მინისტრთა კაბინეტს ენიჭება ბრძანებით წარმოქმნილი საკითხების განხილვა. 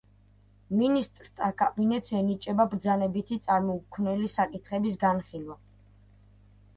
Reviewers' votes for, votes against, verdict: 0, 2, rejected